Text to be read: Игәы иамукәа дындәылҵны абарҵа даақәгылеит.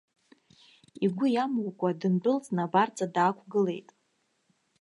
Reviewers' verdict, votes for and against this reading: accepted, 2, 0